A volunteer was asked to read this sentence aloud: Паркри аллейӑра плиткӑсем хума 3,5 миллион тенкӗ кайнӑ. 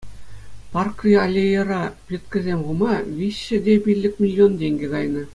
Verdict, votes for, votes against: rejected, 0, 2